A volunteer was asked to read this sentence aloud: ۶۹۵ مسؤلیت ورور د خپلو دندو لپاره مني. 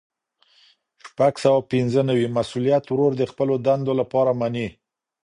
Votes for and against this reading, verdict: 0, 2, rejected